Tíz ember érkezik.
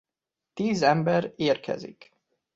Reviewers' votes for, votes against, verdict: 2, 0, accepted